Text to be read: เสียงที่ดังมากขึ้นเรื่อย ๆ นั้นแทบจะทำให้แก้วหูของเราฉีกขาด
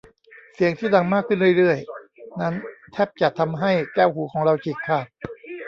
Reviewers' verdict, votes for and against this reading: rejected, 1, 2